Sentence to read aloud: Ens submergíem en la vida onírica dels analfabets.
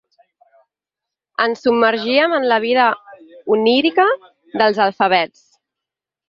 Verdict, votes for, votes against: rejected, 0, 4